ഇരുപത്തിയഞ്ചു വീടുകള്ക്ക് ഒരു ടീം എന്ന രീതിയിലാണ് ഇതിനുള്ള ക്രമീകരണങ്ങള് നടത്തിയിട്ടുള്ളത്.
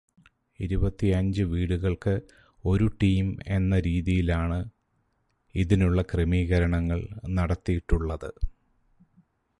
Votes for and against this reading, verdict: 0, 2, rejected